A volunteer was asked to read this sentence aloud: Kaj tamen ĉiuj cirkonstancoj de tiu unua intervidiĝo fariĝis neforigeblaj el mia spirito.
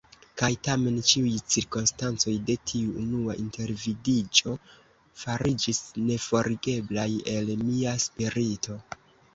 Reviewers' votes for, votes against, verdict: 2, 1, accepted